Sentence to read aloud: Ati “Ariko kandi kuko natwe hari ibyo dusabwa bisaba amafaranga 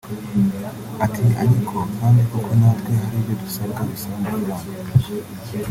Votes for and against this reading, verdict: 0, 3, rejected